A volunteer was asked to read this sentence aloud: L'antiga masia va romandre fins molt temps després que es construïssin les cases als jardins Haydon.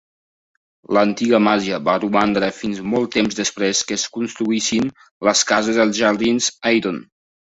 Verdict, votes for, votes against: rejected, 0, 2